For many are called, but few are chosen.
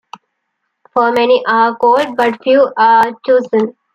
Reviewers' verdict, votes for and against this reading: accepted, 2, 0